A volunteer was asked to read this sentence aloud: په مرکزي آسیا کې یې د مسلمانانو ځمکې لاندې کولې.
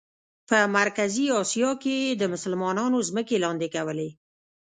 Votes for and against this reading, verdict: 1, 2, rejected